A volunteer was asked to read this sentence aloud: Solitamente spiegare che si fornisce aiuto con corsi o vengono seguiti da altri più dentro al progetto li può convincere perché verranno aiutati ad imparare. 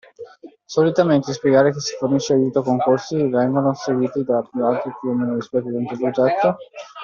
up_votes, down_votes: 1, 2